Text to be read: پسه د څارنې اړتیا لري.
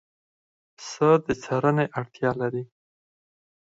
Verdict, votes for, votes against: rejected, 2, 4